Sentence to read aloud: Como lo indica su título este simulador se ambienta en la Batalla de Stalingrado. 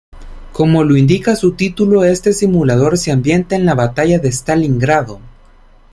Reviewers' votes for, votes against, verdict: 2, 0, accepted